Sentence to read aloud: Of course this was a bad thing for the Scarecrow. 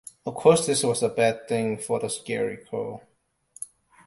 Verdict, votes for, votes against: accepted, 2, 0